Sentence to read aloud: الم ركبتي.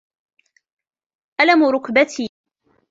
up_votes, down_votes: 2, 0